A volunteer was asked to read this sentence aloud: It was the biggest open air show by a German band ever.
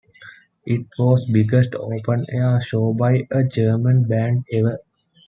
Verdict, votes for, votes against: rejected, 0, 2